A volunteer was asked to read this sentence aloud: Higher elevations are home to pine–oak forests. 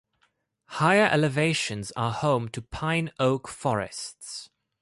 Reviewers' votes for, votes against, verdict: 2, 0, accepted